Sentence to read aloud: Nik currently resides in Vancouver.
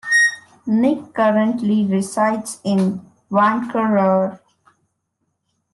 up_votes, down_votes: 2, 1